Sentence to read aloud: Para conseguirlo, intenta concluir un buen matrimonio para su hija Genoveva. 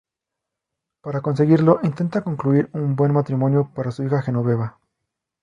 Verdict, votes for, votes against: accepted, 2, 0